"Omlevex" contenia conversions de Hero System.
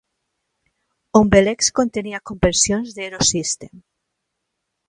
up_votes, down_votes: 0, 2